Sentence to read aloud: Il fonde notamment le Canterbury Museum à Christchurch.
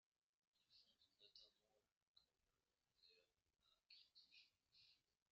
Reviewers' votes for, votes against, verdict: 0, 2, rejected